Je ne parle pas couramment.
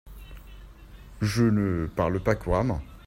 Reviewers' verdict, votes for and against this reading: accepted, 2, 0